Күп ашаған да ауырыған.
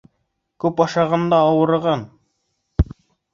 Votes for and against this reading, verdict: 3, 0, accepted